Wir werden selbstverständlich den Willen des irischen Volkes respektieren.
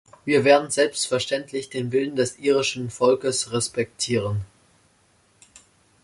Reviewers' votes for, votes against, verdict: 2, 0, accepted